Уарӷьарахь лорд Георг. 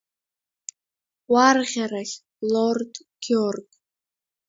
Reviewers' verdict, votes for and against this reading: rejected, 0, 2